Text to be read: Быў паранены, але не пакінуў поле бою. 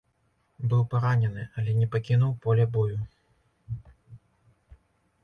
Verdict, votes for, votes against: accepted, 2, 0